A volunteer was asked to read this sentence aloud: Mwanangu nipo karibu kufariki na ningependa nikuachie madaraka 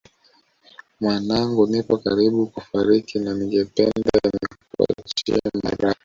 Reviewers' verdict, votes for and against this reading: rejected, 0, 2